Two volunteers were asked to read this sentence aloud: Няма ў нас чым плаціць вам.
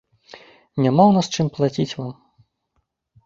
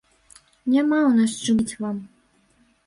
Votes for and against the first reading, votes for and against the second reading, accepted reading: 3, 0, 0, 2, first